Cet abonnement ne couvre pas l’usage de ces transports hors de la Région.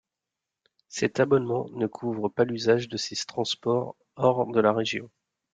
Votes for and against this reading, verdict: 0, 2, rejected